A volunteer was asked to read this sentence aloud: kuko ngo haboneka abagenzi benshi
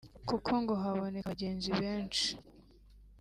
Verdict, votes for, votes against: accepted, 2, 0